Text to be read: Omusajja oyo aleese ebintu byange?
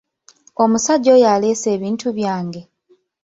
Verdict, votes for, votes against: accepted, 2, 0